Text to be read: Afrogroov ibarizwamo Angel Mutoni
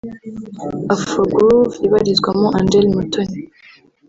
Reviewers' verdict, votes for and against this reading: rejected, 0, 2